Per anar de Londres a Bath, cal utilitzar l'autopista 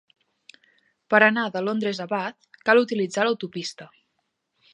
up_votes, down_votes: 2, 0